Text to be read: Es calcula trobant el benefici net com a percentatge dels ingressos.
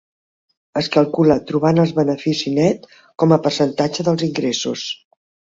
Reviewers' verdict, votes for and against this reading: rejected, 1, 2